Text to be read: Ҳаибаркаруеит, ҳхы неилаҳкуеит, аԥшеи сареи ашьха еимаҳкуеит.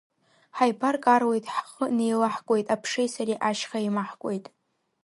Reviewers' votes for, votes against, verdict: 0, 2, rejected